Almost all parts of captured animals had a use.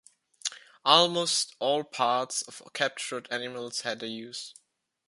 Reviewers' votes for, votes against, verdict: 2, 0, accepted